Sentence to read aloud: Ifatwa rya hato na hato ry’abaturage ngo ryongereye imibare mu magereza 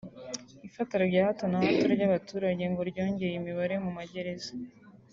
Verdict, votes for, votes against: rejected, 0, 2